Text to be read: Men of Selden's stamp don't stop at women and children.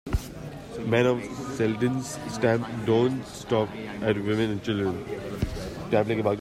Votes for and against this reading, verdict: 0, 2, rejected